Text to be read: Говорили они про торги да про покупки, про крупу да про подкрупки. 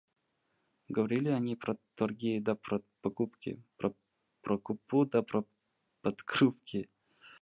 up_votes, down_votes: 0, 2